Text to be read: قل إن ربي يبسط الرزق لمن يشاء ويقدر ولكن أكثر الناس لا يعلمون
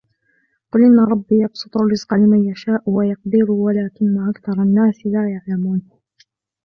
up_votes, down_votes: 1, 2